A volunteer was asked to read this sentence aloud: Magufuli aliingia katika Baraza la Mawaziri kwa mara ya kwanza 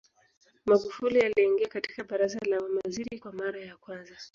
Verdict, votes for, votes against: accepted, 2, 1